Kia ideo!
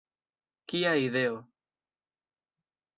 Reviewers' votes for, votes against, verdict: 2, 1, accepted